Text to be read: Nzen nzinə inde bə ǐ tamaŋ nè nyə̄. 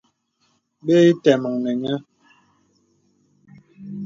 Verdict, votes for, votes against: rejected, 0, 2